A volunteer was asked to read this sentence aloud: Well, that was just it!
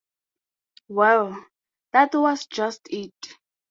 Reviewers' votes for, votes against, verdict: 2, 0, accepted